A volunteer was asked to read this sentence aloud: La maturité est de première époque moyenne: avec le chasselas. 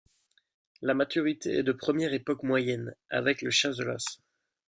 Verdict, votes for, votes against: rejected, 0, 2